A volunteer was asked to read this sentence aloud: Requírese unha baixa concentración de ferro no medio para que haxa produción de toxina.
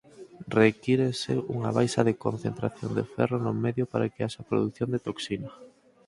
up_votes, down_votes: 2, 4